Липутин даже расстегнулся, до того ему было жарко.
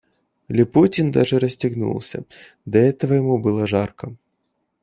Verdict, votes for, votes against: rejected, 0, 2